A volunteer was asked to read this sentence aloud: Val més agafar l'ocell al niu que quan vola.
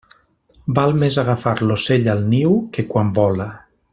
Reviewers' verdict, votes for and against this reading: rejected, 1, 2